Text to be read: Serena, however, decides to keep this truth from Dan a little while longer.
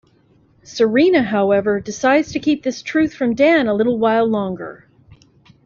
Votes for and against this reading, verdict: 2, 0, accepted